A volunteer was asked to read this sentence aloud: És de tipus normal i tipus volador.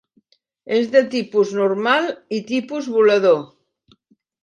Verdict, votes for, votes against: accepted, 2, 1